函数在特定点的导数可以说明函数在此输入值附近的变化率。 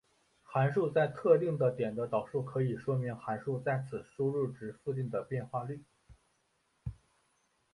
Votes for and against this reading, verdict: 0, 2, rejected